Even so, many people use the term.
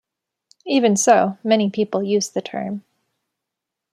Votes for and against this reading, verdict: 2, 0, accepted